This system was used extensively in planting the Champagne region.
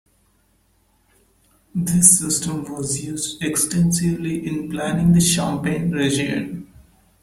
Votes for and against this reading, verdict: 2, 0, accepted